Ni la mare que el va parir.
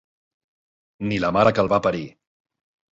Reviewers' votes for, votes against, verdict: 2, 0, accepted